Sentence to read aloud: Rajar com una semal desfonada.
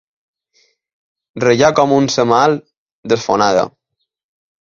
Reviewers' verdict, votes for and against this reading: rejected, 0, 2